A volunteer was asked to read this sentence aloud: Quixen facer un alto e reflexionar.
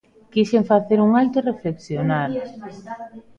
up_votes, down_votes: 0, 2